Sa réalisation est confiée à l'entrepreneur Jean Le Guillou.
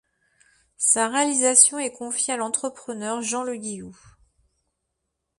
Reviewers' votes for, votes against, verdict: 2, 0, accepted